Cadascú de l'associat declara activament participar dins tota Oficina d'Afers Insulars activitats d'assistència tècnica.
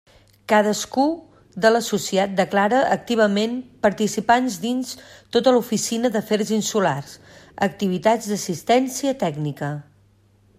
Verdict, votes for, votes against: rejected, 0, 2